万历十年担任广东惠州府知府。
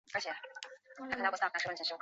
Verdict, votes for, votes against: rejected, 0, 2